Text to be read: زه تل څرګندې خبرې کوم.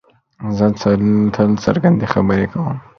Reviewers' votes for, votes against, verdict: 2, 0, accepted